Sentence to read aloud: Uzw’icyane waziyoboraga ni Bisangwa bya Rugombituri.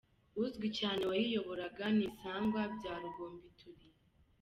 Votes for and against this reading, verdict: 2, 0, accepted